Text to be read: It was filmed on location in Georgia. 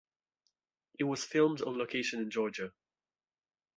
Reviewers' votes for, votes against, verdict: 2, 0, accepted